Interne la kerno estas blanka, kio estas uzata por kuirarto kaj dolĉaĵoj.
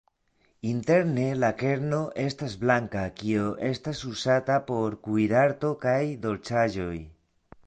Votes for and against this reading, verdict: 0, 2, rejected